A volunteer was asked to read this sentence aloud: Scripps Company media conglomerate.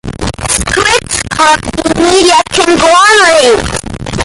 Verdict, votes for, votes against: rejected, 0, 3